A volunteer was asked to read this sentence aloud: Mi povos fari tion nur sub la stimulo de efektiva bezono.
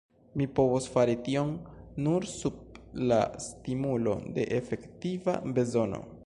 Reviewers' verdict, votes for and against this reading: accepted, 2, 0